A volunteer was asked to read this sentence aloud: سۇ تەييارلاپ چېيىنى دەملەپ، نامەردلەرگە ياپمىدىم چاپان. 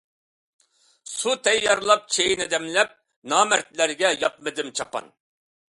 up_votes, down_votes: 2, 0